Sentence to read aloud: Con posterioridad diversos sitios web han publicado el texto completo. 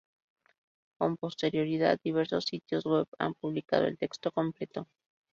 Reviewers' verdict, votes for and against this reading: accepted, 2, 0